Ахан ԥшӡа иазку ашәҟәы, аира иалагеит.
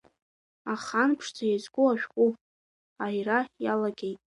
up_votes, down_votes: 2, 0